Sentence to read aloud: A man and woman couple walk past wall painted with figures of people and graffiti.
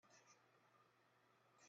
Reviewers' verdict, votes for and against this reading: rejected, 0, 2